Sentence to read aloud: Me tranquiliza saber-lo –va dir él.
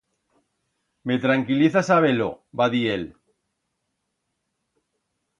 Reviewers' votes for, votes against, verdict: 2, 0, accepted